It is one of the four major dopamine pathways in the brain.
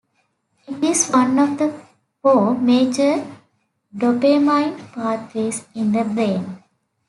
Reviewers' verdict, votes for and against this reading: accepted, 2, 1